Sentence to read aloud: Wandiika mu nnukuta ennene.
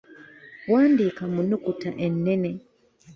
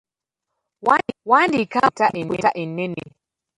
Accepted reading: first